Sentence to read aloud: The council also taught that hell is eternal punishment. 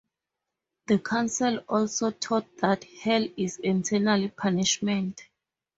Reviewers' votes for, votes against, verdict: 0, 2, rejected